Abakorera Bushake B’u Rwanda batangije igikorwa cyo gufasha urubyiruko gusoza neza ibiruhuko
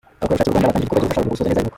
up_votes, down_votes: 0, 2